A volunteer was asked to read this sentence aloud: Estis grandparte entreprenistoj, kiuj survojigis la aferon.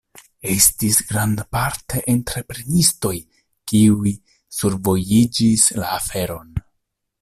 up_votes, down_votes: 1, 2